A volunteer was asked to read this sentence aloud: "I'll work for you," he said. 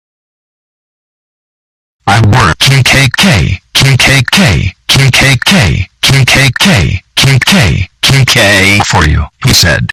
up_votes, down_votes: 0, 3